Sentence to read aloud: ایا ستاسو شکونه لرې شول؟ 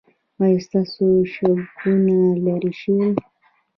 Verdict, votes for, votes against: rejected, 1, 2